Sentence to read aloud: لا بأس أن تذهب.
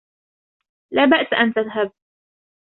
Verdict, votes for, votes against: rejected, 1, 2